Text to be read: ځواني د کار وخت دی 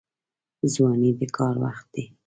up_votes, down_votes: 0, 2